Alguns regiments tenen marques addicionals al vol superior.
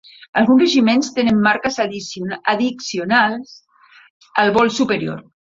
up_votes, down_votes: 0, 3